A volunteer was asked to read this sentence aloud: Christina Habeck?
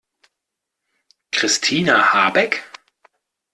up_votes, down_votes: 2, 0